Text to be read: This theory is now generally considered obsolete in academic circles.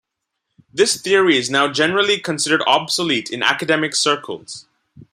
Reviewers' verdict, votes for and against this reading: accepted, 2, 0